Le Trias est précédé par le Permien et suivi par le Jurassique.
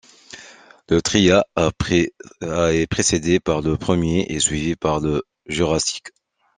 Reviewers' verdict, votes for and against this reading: rejected, 0, 2